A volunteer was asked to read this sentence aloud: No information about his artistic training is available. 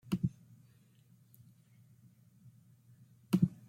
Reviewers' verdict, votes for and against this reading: rejected, 1, 2